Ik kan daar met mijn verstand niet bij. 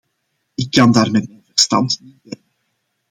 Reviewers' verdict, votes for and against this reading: rejected, 1, 3